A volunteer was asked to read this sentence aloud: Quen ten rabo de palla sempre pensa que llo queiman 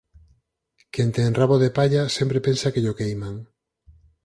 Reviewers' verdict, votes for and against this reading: accepted, 4, 0